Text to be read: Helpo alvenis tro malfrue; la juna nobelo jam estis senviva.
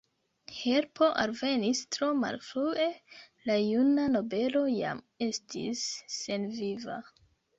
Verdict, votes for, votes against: accepted, 3, 0